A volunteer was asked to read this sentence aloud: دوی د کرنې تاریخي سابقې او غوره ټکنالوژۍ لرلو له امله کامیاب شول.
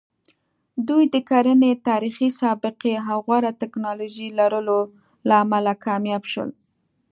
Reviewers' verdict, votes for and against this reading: accepted, 2, 0